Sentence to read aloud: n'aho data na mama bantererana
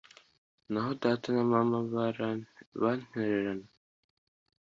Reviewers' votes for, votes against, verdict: 0, 2, rejected